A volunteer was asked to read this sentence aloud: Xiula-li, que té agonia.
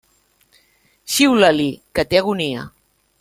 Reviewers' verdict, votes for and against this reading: accepted, 2, 0